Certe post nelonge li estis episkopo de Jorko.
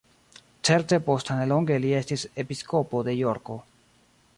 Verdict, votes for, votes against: rejected, 0, 2